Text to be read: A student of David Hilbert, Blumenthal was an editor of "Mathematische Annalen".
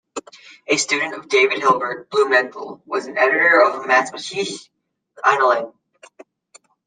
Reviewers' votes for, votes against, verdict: 2, 1, accepted